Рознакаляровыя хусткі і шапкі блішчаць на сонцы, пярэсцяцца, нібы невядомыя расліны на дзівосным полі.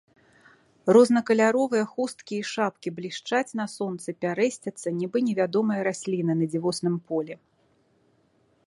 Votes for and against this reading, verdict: 2, 0, accepted